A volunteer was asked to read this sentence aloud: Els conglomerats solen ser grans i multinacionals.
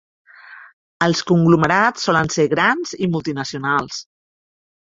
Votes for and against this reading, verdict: 3, 0, accepted